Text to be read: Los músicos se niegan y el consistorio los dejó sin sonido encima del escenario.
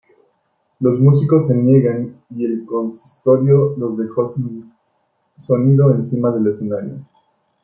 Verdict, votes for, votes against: accepted, 3, 2